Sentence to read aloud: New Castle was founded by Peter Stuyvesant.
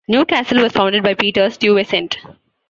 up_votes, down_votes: 2, 0